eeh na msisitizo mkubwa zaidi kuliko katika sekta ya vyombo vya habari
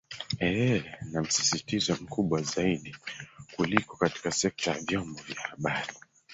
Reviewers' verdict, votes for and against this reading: rejected, 1, 3